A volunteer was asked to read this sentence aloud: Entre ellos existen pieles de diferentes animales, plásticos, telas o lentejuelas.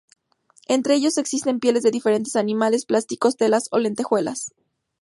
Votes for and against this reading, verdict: 2, 0, accepted